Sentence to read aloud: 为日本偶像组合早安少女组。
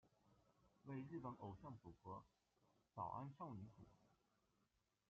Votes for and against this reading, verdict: 1, 2, rejected